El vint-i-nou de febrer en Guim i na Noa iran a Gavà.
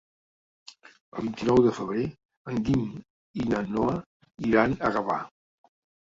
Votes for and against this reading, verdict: 1, 2, rejected